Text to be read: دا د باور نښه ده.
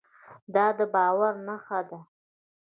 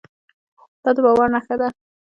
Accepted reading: first